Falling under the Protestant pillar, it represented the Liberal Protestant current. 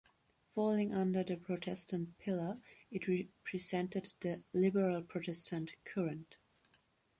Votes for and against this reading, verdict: 2, 1, accepted